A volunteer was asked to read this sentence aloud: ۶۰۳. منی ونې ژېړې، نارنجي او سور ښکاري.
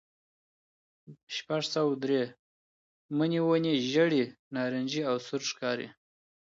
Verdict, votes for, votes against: rejected, 0, 2